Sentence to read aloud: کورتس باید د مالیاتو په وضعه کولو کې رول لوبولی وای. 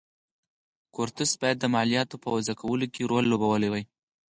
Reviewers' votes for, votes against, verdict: 4, 0, accepted